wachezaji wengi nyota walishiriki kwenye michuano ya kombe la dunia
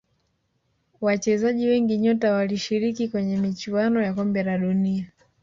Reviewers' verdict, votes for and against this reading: rejected, 1, 2